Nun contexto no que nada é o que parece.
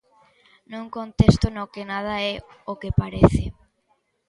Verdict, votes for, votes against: accepted, 2, 1